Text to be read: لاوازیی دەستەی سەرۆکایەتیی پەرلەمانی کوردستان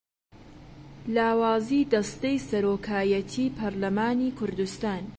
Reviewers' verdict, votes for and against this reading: accepted, 2, 0